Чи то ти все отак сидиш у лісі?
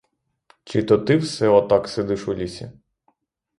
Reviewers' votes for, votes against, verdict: 3, 3, rejected